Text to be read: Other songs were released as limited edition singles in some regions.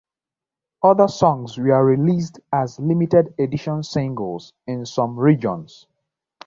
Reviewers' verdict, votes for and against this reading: accepted, 2, 1